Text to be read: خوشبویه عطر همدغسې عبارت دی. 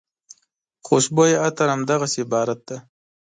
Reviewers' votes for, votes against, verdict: 3, 0, accepted